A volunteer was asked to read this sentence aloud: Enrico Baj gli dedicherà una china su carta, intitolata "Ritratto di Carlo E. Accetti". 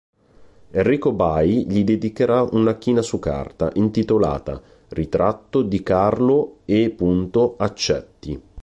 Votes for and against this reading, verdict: 1, 2, rejected